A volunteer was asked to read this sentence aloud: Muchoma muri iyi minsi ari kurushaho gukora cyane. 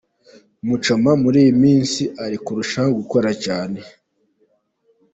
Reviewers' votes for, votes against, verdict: 2, 0, accepted